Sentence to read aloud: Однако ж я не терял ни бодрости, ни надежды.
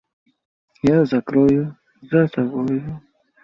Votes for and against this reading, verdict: 0, 2, rejected